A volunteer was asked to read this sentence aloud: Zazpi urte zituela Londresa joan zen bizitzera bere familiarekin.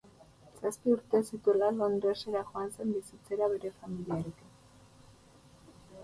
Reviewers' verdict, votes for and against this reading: accepted, 4, 2